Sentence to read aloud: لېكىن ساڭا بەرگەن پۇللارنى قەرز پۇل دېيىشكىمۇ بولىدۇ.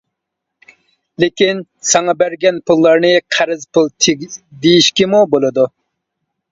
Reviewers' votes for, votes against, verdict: 1, 2, rejected